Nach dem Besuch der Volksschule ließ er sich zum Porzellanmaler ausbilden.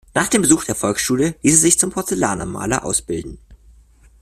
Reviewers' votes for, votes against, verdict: 0, 2, rejected